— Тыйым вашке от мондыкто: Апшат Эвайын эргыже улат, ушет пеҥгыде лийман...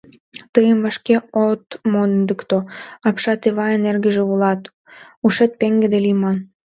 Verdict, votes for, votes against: rejected, 1, 2